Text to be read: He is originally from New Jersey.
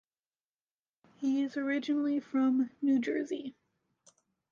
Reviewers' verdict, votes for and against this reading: rejected, 1, 2